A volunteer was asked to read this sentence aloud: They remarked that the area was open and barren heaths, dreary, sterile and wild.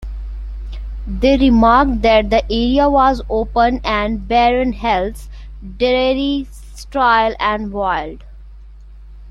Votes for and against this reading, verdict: 1, 2, rejected